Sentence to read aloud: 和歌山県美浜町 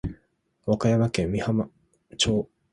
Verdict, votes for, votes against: rejected, 0, 2